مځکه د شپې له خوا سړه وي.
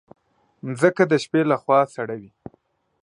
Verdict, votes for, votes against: accepted, 6, 0